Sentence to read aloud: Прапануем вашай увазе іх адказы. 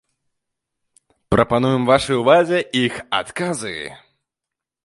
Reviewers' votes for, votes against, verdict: 3, 1, accepted